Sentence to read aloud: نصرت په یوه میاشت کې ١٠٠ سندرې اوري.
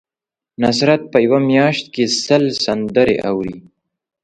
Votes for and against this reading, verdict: 0, 2, rejected